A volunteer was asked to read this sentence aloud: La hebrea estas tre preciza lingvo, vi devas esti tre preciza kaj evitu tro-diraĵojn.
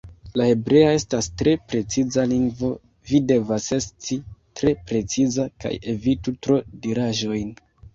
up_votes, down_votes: 1, 2